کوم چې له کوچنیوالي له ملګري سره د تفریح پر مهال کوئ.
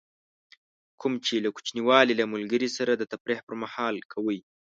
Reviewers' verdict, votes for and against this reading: accepted, 4, 0